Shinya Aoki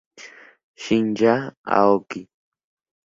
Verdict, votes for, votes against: accepted, 2, 0